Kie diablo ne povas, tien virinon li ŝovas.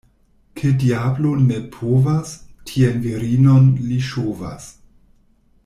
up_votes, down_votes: 1, 2